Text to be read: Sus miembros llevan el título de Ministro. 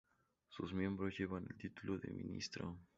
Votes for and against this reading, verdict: 4, 0, accepted